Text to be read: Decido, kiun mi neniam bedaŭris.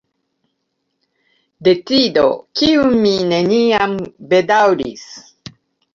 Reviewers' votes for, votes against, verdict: 1, 3, rejected